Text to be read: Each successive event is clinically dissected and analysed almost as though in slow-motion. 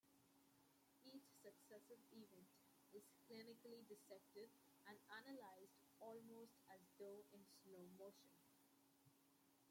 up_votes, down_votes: 0, 2